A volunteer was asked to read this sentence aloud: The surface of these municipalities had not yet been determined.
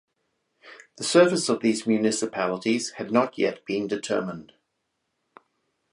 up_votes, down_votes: 4, 0